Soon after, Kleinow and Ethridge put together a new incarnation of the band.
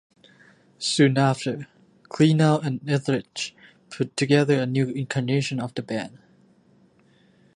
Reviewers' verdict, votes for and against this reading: accepted, 2, 0